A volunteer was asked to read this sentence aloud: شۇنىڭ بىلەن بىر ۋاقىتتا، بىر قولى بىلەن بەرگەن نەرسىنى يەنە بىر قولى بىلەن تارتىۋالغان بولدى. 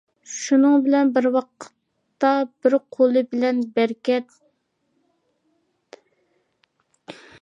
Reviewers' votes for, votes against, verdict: 0, 2, rejected